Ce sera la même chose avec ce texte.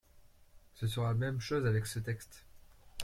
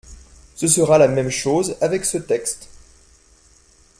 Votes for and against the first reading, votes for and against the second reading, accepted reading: 0, 2, 2, 0, second